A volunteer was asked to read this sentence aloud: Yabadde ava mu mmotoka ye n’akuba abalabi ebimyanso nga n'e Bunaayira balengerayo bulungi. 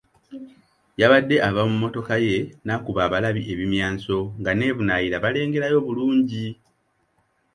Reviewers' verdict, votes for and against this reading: accepted, 2, 0